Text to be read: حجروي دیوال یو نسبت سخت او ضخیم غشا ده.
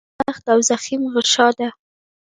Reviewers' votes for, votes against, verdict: 0, 2, rejected